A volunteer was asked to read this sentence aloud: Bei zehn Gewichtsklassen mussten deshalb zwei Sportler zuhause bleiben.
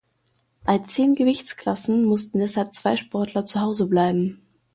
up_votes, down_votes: 2, 0